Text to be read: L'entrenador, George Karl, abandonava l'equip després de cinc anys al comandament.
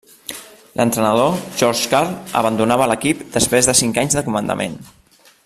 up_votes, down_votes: 0, 2